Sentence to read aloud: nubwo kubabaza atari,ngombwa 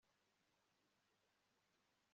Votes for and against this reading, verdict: 2, 0, accepted